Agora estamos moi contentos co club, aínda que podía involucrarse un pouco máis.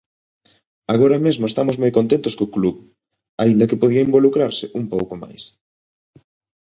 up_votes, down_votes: 0, 2